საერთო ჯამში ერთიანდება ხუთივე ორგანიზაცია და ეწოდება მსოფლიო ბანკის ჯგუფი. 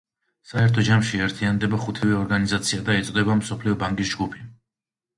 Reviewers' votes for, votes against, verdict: 2, 0, accepted